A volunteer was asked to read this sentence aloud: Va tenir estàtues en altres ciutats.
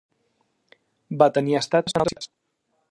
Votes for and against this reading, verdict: 0, 2, rejected